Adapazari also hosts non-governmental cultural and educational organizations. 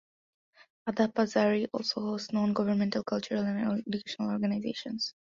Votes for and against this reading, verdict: 2, 0, accepted